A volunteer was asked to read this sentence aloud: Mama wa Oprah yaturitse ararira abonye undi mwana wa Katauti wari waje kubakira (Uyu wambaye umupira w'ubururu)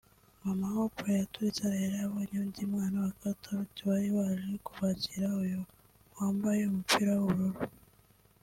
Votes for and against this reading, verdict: 2, 0, accepted